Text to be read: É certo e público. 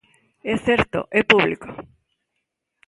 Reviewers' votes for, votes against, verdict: 2, 0, accepted